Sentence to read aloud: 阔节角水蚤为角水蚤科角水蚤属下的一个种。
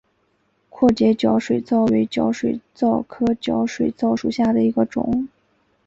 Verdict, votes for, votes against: rejected, 1, 2